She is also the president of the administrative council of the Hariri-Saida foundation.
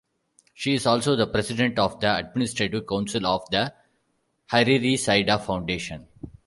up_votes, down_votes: 2, 0